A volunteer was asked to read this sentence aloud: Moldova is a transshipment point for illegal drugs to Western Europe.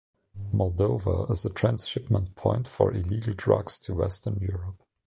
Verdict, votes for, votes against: accepted, 2, 0